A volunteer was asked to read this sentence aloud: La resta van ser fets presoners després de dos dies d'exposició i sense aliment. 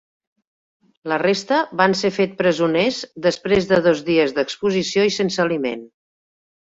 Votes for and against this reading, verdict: 2, 3, rejected